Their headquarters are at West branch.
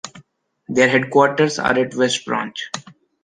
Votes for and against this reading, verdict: 2, 0, accepted